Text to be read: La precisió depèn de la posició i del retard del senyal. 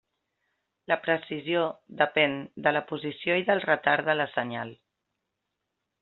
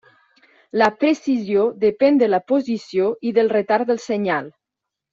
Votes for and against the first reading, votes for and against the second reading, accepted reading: 0, 2, 3, 0, second